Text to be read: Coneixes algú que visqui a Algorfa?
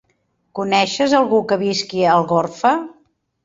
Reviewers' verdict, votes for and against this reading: accepted, 3, 0